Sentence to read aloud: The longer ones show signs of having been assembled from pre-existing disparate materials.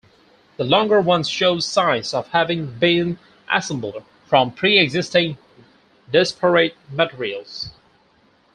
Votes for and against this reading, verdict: 2, 2, rejected